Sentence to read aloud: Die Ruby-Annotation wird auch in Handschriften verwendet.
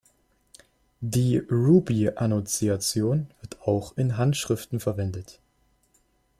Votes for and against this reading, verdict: 0, 2, rejected